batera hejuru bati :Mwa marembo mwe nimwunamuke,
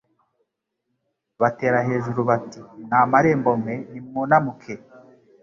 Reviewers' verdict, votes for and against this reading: rejected, 0, 2